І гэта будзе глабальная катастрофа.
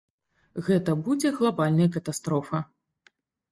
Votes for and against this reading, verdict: 0, 2, rejected